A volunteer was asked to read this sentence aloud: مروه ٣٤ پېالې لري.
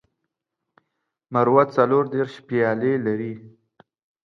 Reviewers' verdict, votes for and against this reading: rejected, 0, 2